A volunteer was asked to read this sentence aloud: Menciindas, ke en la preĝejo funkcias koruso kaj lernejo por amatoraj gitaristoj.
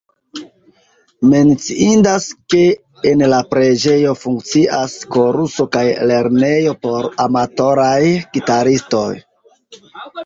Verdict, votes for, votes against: rejected, 0, 2